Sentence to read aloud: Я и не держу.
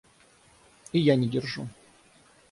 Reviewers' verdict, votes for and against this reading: rejected, 0, 3